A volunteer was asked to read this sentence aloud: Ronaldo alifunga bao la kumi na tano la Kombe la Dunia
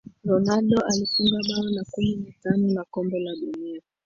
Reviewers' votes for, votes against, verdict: 0, 2, rejected